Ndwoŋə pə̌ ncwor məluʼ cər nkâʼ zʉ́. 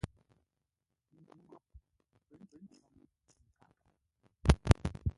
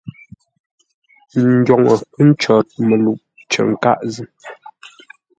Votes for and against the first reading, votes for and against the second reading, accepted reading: 0, 2, 2, 0, second